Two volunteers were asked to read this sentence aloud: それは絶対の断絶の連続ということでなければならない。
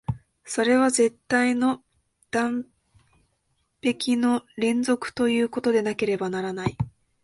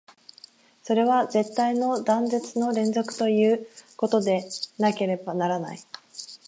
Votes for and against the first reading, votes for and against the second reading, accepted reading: 0, 2, 16, 0, second